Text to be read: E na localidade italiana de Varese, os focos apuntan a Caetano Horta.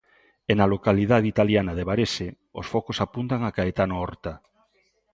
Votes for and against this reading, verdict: 2, 1, accepted